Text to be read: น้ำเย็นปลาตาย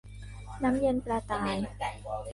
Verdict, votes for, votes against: accepted, 2, 1